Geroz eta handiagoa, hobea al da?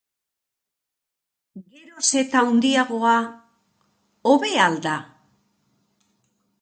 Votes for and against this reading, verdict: 0, 2, rejected